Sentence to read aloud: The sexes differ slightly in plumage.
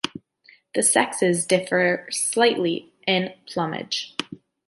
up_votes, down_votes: 2, 0